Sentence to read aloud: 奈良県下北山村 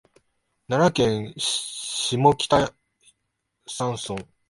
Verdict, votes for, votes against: rejected, 1, 3